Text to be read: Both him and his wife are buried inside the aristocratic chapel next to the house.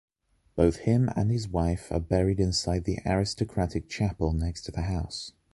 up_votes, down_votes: 3, 0